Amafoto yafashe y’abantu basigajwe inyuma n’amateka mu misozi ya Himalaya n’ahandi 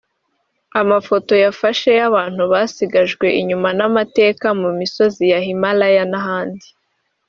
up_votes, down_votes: 0, 2